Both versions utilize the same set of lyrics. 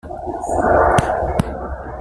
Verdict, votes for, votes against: rejected, 0, 2